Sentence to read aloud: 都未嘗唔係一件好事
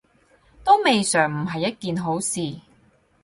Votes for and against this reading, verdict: 4, 0, accepted